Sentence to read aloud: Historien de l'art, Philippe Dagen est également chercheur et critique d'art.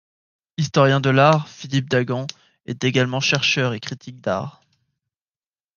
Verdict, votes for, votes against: accepted, 2, 0